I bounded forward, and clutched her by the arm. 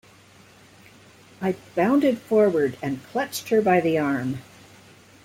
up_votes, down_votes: 2, 0